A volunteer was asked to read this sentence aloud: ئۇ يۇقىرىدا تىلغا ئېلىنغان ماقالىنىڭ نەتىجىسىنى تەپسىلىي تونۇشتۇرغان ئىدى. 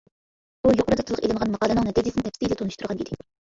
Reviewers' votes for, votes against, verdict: 0, 2, rejected